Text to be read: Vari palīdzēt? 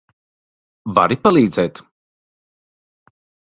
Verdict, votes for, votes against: accepted, 2, 0